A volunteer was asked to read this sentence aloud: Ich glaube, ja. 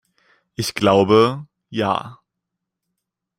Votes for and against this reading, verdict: 2, 1, accepted